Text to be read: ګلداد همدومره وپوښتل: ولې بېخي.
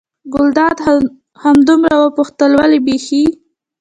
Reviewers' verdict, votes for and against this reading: accepted, 2, 1